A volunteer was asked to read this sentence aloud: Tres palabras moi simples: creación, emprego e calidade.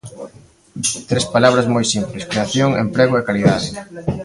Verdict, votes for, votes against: rejected, 0, 2